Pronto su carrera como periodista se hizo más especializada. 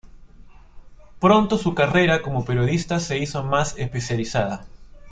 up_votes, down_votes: 2, 0